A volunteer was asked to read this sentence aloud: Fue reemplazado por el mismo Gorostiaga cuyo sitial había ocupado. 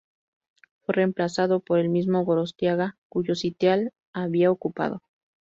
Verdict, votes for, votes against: accepted, 2, 0